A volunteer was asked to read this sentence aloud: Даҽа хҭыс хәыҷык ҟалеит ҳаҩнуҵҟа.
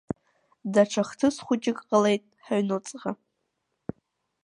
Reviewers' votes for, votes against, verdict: 2, 0, accepted